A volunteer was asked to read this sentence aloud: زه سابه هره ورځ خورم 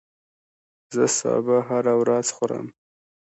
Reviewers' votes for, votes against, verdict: 2, 0, accepted